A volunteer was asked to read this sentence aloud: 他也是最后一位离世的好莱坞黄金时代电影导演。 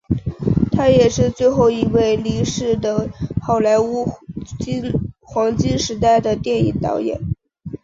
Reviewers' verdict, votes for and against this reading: accepted, 3, 1